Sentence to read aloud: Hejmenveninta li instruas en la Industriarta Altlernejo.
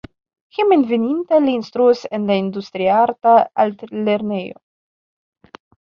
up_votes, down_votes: 2, 1